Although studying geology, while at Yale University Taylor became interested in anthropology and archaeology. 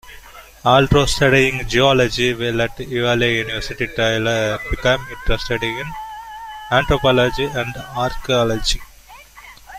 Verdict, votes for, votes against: rejected, 0, 2